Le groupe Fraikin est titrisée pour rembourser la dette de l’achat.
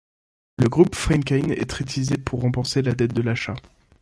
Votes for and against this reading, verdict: 1, 2, rejected